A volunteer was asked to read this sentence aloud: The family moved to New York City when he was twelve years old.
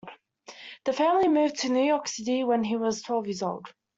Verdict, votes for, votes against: accepted, 2, 0